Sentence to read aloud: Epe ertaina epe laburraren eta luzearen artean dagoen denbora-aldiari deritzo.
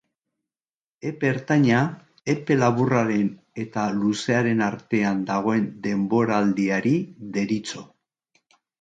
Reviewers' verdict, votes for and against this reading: accepted, 2, 0